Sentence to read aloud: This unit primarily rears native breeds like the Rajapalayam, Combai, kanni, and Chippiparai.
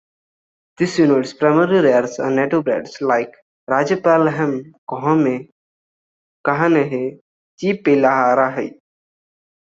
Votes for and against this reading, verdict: 1, 2, rejected